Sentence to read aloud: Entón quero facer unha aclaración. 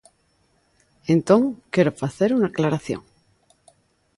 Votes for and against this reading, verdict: 2, 0, accepted